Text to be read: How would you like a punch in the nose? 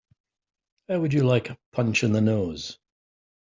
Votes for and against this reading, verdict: 2, 0, accepted